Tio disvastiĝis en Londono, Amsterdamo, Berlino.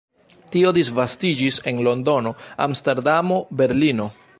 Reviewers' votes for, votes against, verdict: 1, 2, rejected